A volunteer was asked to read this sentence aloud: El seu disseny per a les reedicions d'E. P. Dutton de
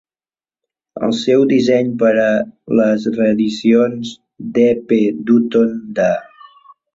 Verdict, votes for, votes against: accepted, 2, 0